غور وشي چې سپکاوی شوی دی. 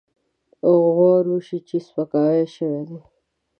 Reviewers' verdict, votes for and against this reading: rejected, 1, 2